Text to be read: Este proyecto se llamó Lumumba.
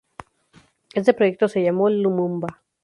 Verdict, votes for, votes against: accepted, 2, 0